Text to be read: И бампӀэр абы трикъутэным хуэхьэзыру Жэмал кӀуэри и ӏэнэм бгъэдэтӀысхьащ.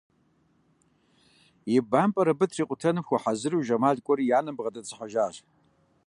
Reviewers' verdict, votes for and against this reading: rejected, 1, 2